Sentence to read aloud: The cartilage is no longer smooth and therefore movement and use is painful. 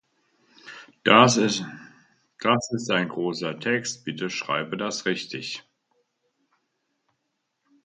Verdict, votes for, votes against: rejected, 0, 2